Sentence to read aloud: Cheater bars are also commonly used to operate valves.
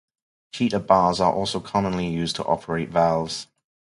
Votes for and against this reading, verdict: 4, 0, accepted